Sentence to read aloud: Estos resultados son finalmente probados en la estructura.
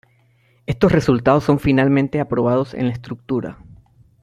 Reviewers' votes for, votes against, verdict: 0, 2, rejected